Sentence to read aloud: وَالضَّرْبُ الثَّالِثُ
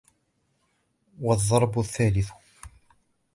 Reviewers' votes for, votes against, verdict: 1, 2, rejected